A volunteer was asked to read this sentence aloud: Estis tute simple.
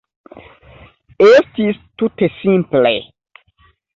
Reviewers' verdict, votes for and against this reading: accepted, 2, 1